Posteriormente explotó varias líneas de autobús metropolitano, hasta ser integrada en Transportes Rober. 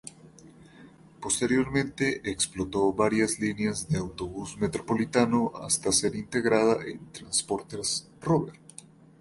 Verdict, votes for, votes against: accepted, 2, 0